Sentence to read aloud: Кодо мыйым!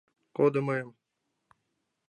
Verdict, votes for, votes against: accepted, 2, 0